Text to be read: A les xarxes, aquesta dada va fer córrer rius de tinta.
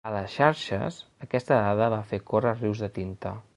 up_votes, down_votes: 3, 0